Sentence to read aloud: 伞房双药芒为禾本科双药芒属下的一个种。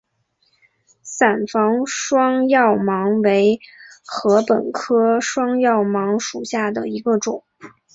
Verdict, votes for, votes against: accepted, 3, 2